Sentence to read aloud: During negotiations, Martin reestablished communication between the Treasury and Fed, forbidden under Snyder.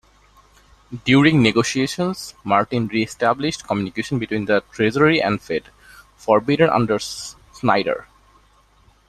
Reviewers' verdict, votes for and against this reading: rejected, 1, 2